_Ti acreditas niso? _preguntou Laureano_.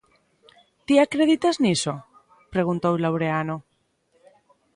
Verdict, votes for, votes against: accepted, 2, 0